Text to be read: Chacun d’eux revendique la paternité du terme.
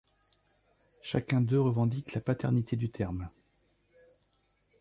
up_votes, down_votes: 2, 0